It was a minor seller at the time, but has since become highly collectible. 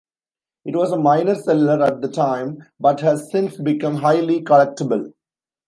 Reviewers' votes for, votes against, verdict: 1, 2, rejected